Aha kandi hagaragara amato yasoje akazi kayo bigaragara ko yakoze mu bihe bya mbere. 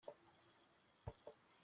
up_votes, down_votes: 0, 2